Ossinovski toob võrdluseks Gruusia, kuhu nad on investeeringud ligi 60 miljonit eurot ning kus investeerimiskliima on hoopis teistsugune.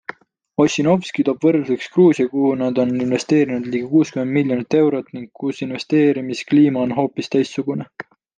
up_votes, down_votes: 0, 2